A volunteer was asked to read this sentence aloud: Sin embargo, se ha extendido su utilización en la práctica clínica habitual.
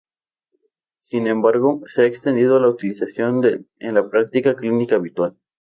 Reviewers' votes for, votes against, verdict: 0, 2, rejected